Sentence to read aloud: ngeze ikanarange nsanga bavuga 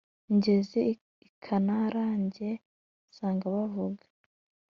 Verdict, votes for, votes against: accepted, 2, 0